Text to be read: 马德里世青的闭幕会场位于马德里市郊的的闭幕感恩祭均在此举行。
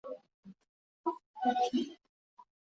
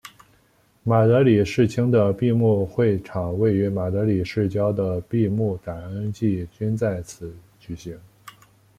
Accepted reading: second